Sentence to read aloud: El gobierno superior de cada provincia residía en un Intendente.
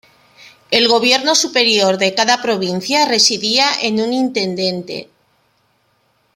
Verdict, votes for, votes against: rejected, 1, 2